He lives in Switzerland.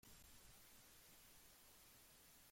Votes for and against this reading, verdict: 0, 2, rejected